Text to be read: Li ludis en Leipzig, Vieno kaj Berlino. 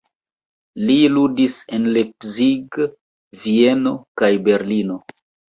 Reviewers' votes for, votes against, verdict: 1, 2, rejected